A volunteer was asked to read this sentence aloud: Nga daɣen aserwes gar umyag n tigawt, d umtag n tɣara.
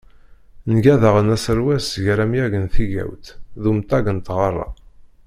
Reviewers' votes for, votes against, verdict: 0, 2, rejected